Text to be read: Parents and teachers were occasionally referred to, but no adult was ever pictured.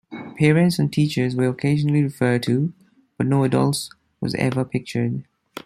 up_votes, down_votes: 0, 2